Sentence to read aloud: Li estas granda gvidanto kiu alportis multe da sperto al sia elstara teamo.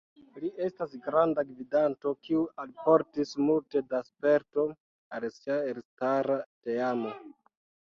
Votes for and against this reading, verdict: 2, 0, accepted